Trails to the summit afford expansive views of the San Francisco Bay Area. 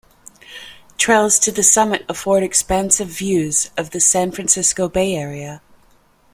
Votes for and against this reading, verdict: 2, 0, accepted